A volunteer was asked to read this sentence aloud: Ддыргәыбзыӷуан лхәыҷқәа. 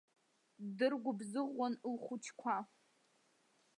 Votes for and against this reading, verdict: 1, 2, rejected